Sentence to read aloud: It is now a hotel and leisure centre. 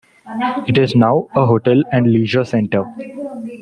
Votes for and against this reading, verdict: 1, 2, rejected